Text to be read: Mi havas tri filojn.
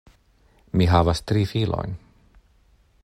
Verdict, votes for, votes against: accepted, 2, 0